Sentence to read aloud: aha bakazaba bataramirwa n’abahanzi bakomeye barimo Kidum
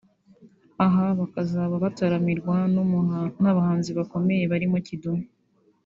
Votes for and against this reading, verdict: 2, 1, accepted